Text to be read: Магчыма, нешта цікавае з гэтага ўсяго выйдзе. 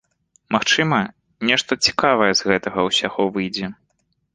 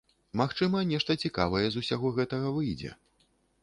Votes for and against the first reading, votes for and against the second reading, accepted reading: 2, 0, 0, 2, first